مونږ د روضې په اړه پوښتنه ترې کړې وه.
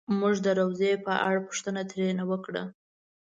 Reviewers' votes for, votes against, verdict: 1, 2, rejected